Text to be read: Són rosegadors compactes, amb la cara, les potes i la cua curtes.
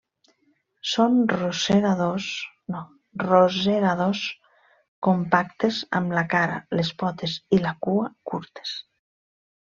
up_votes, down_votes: 0, 2